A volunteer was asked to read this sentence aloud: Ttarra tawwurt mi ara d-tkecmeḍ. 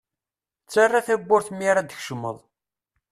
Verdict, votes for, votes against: accepted, 2, 0